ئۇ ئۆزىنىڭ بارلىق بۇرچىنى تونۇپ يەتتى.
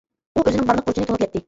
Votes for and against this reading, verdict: 0, 2, rejected